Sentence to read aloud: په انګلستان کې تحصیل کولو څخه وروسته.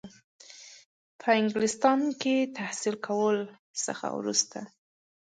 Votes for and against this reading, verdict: 2, 0, accepted